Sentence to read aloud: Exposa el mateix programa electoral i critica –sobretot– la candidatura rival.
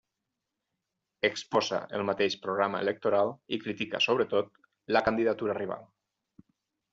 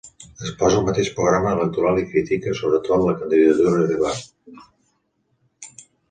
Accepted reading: first